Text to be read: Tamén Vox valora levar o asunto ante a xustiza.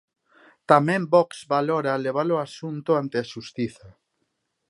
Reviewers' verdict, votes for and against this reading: rejected, 1, 2